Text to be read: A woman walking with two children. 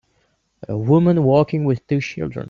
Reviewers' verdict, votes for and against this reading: accepted, 2, 1